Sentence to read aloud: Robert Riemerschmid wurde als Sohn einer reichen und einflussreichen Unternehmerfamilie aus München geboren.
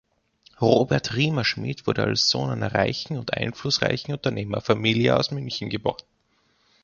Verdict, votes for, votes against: accepted, 2, 1